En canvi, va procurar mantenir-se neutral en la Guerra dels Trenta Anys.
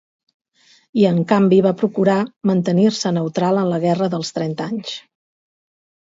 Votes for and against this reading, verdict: 2, 2, rejected